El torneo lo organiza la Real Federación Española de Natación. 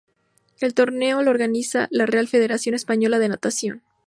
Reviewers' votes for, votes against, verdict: 2, 0, accepted